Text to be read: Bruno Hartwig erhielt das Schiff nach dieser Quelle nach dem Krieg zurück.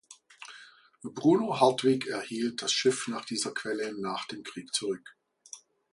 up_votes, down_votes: 2, 0